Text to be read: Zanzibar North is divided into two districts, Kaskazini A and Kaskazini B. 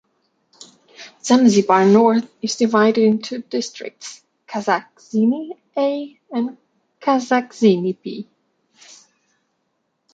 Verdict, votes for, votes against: accepted, 2, 1